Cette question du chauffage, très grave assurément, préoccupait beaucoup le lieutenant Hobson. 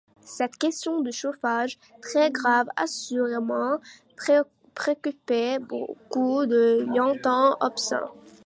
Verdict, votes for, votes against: rejected, 0, 2